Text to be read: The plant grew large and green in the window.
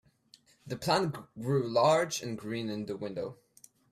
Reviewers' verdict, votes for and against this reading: rejected, 0, 2